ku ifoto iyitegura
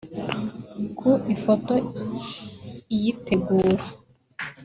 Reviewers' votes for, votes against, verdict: 1, 2, rejected